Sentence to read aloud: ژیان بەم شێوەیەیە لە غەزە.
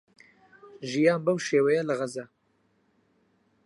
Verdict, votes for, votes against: rejected, 0, 4